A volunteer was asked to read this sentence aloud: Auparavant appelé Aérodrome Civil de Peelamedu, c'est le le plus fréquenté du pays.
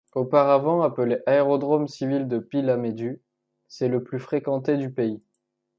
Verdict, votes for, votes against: accepted, 2, 1